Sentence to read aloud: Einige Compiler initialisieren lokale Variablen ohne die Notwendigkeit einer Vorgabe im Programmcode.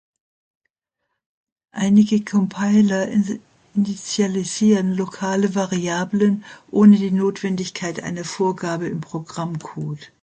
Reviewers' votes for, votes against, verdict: 0, 2, rejected